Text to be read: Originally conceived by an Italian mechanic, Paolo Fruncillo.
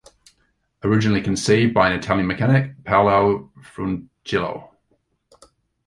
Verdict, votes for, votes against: rejected, 1, 2